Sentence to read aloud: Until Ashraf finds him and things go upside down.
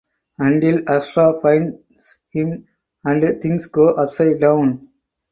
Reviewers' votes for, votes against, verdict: 4, 0, accepted